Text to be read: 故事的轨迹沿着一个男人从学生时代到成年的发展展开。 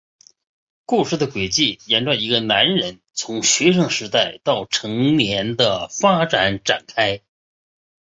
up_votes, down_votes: 3, 0